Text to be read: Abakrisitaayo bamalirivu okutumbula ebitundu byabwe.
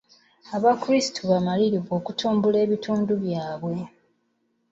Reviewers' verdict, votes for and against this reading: rejected, 0, 2